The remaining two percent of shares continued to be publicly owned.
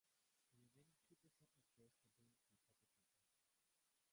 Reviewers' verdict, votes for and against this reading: rejected, 0, 3